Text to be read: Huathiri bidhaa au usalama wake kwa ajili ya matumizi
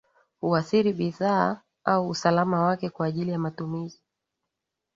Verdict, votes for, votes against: accepted, 2, 0